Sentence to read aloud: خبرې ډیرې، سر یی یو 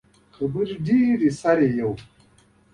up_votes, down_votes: 2, 0